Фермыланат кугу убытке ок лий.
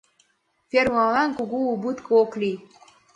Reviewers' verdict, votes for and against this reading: accepted, 2, 1